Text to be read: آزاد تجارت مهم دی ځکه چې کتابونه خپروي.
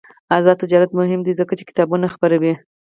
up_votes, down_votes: 2, 4